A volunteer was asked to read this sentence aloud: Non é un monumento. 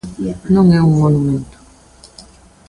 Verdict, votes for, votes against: accepted, 2, 0